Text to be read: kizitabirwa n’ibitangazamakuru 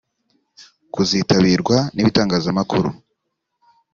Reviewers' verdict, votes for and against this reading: rejected, 0, 2